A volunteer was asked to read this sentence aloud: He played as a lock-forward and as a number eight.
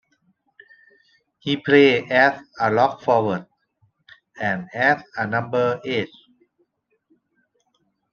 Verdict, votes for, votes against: rejected, 0, 2